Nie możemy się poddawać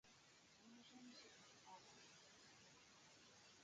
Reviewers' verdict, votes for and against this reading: rejected, 0, 2